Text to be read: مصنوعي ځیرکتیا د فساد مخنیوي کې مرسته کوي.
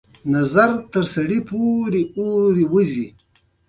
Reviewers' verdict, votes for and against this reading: rejected, 0, 2